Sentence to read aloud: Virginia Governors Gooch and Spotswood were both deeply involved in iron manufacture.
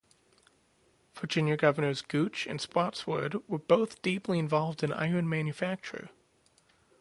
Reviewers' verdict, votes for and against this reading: accepted, 4, 0